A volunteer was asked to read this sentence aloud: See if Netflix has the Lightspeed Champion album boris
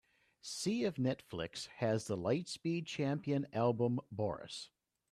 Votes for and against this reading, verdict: 2, 0, accepted